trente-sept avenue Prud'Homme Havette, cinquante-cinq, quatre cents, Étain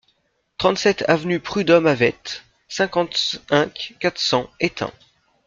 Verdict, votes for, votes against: rejected, 1, 2